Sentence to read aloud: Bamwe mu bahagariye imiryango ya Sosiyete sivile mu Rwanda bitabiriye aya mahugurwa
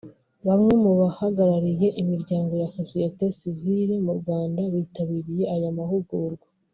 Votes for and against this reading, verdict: 2, 0, accepted